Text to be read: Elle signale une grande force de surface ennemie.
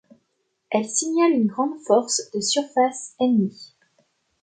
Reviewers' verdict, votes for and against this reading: accepted, 2, 0